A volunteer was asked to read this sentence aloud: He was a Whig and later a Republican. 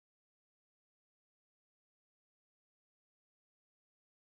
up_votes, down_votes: 0, 2